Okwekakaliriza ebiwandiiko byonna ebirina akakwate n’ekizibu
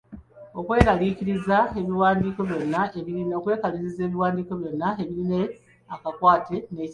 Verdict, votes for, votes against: accepted, 2, 0